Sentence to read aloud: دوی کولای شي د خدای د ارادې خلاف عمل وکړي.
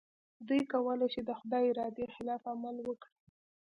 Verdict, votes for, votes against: accepted, 2, 0